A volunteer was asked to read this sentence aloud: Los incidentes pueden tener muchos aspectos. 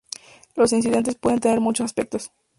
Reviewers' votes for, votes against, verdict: 0, 2, rejected